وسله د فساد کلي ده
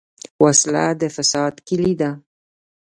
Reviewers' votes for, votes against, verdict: 1, 2, rejected